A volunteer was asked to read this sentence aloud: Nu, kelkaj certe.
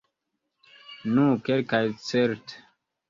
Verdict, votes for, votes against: accepted, 4, 0